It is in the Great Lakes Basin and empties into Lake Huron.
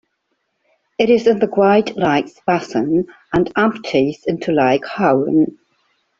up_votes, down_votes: 0, 2